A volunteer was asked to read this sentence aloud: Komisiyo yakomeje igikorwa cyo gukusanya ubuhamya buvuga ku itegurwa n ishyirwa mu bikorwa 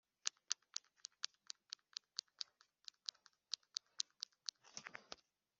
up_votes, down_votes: 0, 2